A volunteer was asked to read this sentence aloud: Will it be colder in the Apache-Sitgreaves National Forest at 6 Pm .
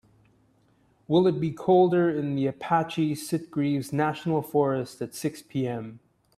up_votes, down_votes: 0, 2